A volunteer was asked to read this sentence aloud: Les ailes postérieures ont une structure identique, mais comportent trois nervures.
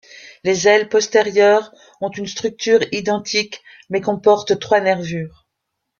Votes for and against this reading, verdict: 2, 0, accepted